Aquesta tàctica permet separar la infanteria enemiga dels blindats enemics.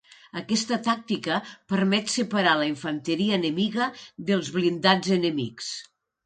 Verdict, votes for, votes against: accepted, 4, 0